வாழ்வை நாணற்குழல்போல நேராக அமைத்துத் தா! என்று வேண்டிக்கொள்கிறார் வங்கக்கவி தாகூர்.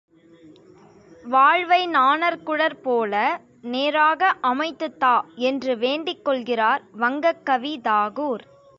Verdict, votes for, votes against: accepted, 2, 0